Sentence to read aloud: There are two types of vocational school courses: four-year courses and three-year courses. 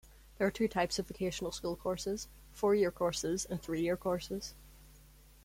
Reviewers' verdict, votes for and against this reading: accepted, 2, 1